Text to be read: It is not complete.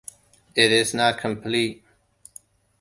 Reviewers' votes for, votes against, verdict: 2, 0, accepted